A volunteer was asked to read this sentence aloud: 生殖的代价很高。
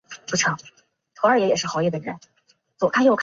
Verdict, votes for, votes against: rejected, 0, 3